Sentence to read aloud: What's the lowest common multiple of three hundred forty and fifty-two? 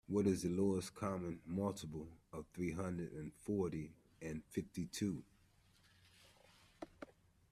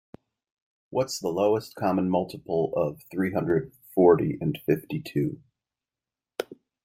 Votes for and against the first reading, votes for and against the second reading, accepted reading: 1, 2, 2, 0, second